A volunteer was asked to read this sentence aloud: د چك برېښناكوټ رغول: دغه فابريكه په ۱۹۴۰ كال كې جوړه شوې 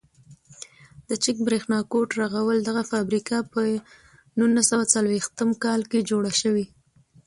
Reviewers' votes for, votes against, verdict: 0, 2, rejected